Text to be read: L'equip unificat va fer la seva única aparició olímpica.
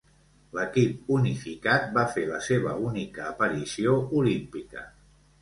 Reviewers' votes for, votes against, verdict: 2, 0, accepted